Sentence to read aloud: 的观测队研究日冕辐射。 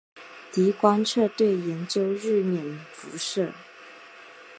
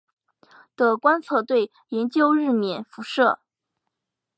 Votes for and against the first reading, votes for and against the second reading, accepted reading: 1, 2, 2, 0, second